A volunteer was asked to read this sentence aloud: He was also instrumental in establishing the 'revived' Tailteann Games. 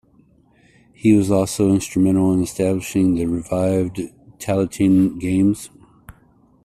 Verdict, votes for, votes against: accepted, 2, 0